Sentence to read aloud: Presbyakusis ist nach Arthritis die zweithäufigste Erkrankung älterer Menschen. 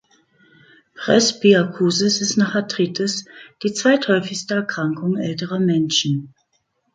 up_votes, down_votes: 2, 0